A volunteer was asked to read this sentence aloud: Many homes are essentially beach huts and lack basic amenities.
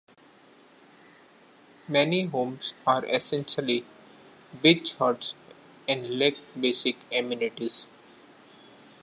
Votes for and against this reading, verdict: 2, 0, accepted